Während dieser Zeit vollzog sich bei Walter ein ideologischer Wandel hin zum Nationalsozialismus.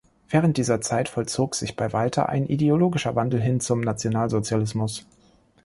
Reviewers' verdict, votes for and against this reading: accepted, 2, 0